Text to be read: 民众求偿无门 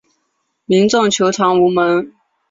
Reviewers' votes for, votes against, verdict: 4, 0, accepted